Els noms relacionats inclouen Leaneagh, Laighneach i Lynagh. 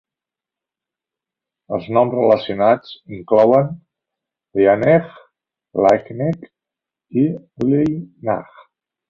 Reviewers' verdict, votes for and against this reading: rejected, 1, 2